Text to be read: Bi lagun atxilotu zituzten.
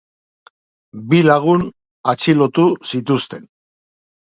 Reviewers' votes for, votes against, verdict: 8, 0, accepted